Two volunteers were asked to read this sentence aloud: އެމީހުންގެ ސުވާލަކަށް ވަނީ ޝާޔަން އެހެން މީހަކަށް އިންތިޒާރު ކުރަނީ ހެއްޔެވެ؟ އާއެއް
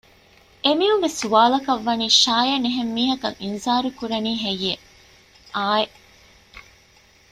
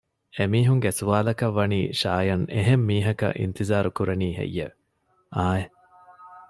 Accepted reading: second